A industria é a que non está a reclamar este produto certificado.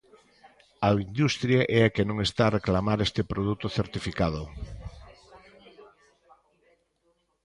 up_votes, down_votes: 1, 2